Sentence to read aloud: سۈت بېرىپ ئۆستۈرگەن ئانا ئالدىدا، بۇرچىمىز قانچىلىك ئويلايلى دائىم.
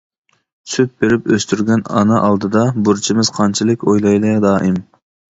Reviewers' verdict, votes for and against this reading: accepted, 2, 0